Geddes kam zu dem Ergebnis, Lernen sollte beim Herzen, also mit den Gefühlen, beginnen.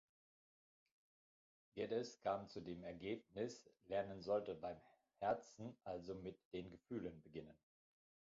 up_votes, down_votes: 2, 0